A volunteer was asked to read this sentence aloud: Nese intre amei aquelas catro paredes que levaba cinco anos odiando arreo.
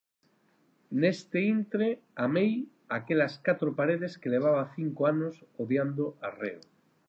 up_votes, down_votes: 0, 4